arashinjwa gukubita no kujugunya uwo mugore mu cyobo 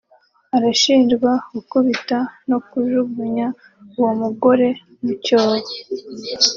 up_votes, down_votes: 2, 0